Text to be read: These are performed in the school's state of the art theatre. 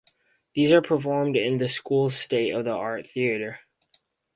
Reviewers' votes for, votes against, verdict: 4, 0, accepted